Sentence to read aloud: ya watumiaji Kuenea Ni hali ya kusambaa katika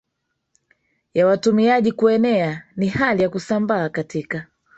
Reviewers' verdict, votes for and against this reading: accepted, 4, 2